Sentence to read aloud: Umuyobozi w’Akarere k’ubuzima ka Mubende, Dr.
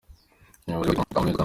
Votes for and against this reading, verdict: 0, 2, rejected